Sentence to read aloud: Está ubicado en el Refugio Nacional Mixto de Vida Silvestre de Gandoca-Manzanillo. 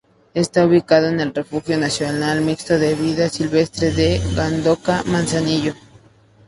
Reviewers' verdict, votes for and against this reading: accepted, 4, 0